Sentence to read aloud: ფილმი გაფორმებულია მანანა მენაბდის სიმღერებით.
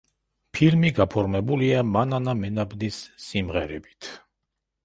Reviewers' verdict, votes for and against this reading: accepted, 2, 0